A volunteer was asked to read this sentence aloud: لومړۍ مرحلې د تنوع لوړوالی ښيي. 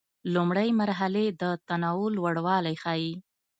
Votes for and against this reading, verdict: 2, 0, accepted